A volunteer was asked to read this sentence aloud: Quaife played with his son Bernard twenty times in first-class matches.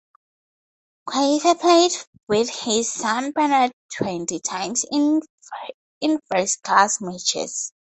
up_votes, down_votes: 0, 2